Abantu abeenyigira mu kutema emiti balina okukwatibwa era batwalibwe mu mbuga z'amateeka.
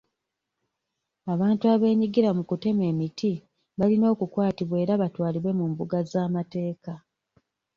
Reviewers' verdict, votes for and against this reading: accepted, 2, 1